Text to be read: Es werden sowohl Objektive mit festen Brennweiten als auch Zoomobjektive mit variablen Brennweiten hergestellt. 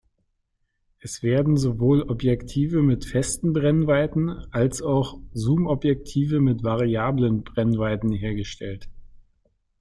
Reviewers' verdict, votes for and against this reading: accepted, 2, 0